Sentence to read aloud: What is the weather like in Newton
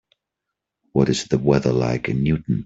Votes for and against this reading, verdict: 3, 0, accepted